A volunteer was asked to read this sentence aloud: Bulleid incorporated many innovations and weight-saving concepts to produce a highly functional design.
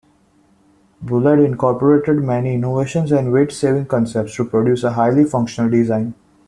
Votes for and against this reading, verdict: 2, 0, accepted